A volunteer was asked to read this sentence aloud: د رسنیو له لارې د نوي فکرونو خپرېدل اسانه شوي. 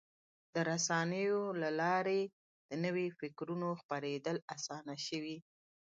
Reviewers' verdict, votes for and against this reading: rejected, 1, 2